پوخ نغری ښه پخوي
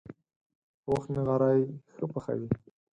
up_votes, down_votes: 4, 0